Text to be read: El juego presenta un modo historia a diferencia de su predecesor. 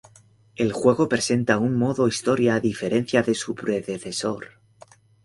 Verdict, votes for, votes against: accepted, 3, 0